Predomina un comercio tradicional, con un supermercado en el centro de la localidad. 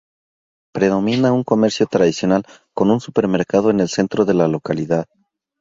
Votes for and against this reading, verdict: 4, 0, accepted